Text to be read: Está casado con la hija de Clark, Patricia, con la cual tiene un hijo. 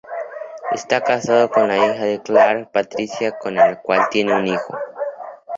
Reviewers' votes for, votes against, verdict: 4, 0, accepted